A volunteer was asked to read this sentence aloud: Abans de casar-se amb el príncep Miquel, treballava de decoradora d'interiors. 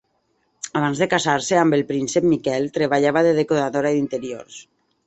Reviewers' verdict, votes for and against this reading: accepted, 2, 0